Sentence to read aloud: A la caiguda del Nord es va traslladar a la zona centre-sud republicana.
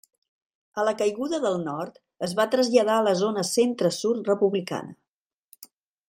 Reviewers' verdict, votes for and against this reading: rejected, 0, 2